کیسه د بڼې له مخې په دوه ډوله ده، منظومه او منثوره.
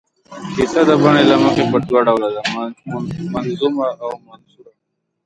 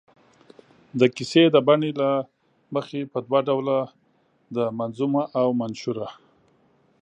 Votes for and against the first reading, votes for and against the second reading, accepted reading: 0, 2, 4, 3, second